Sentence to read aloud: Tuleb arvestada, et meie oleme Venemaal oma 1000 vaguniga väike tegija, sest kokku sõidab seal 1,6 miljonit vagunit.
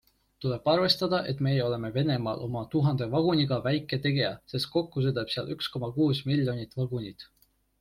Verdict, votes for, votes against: rejected, 0, 2